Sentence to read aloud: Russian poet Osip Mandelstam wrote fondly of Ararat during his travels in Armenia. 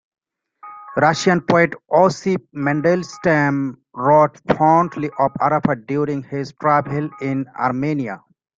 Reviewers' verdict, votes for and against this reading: rejected, 0, 2